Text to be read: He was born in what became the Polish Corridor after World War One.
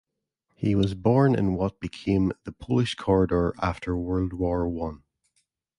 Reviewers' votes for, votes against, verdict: 2, 0, accepted